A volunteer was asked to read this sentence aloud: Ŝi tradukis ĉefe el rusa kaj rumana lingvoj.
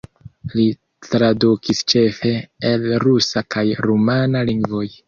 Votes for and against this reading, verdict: 1, 2, rejected